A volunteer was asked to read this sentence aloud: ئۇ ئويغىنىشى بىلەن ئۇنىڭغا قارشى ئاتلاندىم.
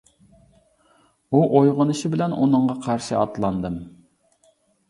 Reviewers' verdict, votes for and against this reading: accepted, 3, 0